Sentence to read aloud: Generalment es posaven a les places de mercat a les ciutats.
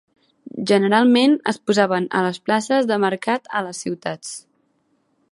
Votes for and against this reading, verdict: 2, 0, accepted